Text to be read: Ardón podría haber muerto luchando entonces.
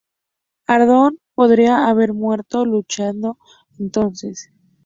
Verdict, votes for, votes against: rejected, 0, 2